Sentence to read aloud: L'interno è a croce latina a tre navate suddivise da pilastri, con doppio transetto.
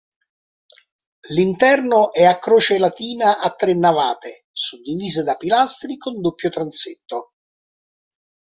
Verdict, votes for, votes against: rejected, 0, 2